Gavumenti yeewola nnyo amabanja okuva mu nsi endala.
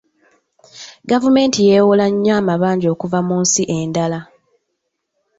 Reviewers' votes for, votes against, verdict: 2, 1, accepted